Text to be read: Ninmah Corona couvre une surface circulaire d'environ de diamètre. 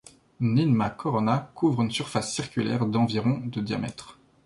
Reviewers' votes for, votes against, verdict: 2, 0, accepted